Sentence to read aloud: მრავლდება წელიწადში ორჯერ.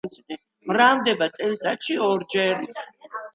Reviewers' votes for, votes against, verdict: 2, 0, accepted